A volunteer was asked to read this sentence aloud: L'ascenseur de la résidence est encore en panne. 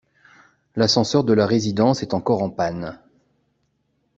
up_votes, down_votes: 2, 0